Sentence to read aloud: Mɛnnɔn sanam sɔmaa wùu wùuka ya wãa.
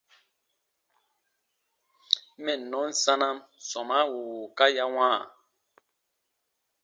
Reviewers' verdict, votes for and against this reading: accepted, 2, 0